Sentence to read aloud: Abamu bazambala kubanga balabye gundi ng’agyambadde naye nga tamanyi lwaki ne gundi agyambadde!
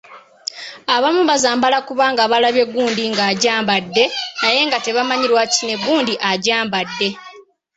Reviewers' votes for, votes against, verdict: 2, 0, accepted